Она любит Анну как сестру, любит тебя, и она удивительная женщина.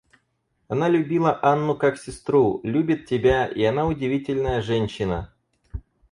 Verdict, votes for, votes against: rejected, 0, 4